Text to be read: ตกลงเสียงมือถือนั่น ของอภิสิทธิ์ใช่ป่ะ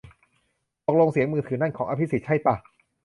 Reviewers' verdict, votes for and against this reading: accepted, 2, 0